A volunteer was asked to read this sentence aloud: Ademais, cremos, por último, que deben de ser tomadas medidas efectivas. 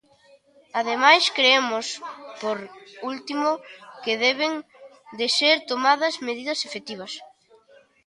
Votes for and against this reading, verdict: 0, 2, rejected